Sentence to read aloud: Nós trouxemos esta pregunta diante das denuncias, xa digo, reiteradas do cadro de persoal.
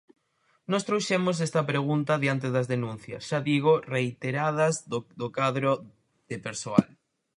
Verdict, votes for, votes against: rejected, 0, 4